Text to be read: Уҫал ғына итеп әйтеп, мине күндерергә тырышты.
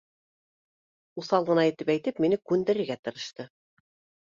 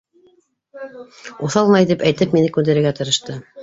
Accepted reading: first